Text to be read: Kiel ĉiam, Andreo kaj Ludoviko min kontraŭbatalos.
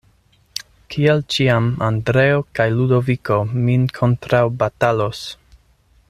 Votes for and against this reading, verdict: 2, 0, accepted